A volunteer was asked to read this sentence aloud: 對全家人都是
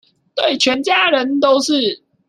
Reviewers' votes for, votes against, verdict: 1, 2, rejected